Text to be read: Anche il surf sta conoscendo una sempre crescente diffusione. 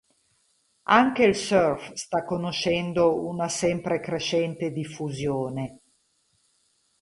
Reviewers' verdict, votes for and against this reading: rejected, 2, 2